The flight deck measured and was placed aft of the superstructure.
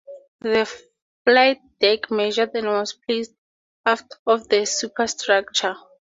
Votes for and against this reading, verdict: 0, 2, rejected